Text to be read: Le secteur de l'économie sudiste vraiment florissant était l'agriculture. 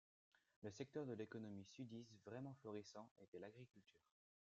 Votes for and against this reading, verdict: 1, 2, rejected